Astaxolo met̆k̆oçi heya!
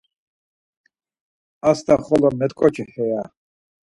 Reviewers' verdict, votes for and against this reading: accepted, 4, 0